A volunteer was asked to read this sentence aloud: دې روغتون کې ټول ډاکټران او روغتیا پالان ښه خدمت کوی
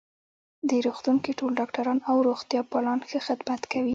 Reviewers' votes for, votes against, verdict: 2, 0, accepted